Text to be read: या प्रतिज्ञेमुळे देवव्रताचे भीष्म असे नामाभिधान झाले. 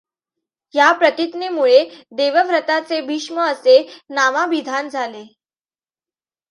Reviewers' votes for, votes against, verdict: 2, 0, accepted